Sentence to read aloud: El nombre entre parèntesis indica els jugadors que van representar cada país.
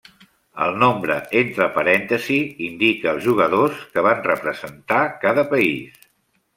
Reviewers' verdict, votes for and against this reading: rejected, 0, 2